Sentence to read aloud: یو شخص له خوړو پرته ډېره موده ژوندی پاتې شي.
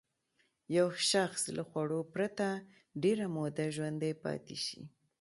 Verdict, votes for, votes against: accepted, 2, 0